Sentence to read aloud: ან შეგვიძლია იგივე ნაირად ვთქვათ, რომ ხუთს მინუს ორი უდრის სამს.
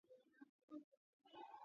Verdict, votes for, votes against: rejected, 0, 2